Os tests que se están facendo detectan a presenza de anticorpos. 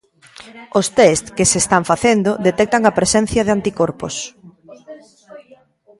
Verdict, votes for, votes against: rejected, 1, 2